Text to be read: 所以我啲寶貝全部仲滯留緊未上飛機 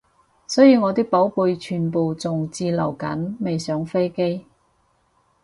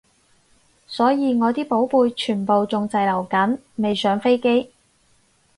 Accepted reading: second